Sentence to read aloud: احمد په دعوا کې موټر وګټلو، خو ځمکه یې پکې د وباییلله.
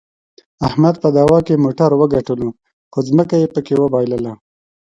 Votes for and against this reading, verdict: 0, 2, rejected